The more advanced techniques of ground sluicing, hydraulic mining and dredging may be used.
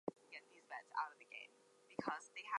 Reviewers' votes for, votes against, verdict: 0, 4, rejected